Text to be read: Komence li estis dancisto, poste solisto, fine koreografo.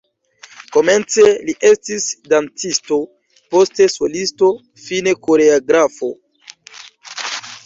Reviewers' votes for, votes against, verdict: 1, 2, rejected